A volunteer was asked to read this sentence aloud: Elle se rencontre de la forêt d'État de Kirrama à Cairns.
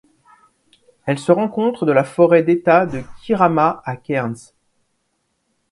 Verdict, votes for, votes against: accepted, 2, 0